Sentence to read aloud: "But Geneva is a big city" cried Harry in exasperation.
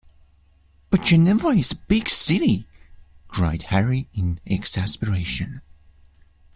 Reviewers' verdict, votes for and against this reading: rejected, 1, 2